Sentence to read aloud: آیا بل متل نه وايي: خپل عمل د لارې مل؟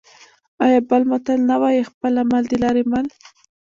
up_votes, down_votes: 0, 2